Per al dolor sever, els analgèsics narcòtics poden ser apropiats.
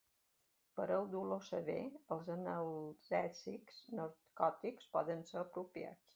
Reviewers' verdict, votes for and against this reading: accepted, 2, 0